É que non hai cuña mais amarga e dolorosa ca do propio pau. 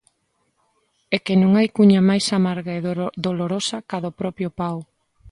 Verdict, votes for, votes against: rejected, 0, 2